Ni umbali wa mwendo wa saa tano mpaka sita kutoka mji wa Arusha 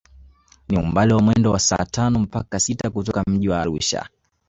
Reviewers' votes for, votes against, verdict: 1, 2, rejected